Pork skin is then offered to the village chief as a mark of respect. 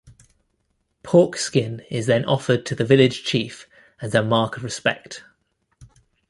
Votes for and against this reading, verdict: 2, 0, accepted